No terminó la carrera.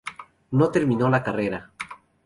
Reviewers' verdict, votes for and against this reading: accepted, 2, 0